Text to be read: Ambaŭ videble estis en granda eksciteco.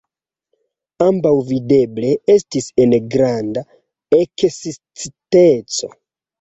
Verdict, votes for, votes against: rejected, 0, 2